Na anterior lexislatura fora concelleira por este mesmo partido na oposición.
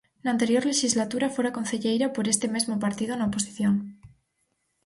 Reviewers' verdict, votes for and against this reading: accepted, 4, 2